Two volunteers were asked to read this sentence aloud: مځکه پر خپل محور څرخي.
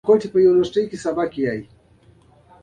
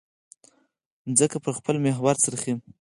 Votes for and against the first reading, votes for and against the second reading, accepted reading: 0, 2, 4, 0, second